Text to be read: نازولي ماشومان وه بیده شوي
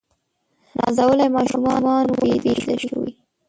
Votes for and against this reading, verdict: 0, 2, rejected